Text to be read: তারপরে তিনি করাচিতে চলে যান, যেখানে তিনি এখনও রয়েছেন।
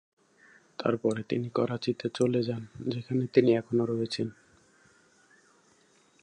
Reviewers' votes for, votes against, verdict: 2, 0, accepted